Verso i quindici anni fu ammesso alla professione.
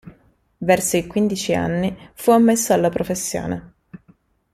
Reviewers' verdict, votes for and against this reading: accepted, 2, 0